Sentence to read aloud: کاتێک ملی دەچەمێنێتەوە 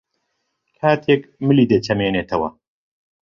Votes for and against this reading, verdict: 2, 0, accepted